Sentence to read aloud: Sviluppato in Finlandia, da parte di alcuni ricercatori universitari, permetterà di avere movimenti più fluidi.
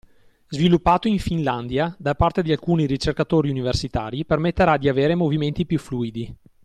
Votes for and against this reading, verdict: 2, 0, accepted